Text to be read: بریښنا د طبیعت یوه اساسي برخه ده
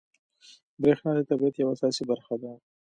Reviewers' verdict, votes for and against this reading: accepted, 2, 0